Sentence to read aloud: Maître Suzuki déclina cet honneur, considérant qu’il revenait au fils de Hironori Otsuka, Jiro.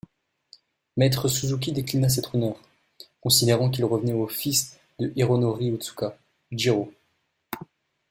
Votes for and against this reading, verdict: 2, 0, accepted